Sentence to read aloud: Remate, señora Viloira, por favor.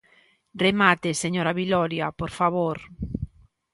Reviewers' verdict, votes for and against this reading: rejected, 0, 2